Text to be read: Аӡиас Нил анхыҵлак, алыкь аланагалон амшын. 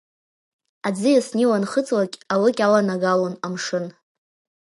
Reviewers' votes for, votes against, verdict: 2, 1, accepted